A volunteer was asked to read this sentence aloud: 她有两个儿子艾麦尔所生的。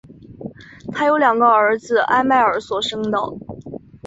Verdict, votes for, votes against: accepted, 2, 1